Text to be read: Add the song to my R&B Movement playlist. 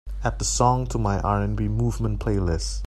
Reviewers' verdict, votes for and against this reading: accepted, 2, 0